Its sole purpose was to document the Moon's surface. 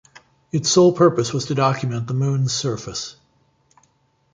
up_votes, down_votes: 2, 0